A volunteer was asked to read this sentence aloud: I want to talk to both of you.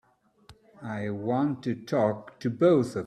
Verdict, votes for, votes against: rejected, 0, 2